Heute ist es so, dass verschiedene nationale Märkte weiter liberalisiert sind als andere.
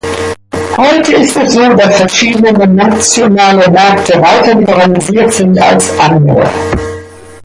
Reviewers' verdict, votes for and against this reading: accepted, 2, 0